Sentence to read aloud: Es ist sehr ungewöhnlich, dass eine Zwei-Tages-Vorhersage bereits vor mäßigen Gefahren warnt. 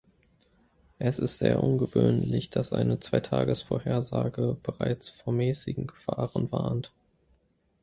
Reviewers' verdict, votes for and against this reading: accepted, 2, 0